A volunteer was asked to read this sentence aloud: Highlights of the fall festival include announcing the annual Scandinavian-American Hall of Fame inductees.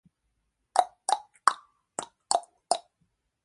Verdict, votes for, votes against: rejected, 0, 2